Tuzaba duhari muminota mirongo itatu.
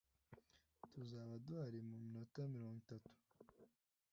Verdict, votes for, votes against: accepted, 2, 0